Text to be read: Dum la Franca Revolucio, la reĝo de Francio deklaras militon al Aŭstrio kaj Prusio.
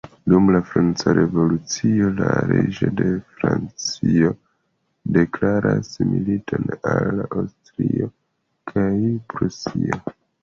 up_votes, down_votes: 2, 0